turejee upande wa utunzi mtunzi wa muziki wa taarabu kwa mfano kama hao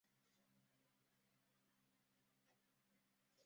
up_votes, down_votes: 0, 2